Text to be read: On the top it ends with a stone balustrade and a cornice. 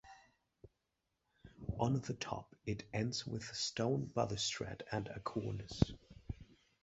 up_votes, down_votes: 2, 0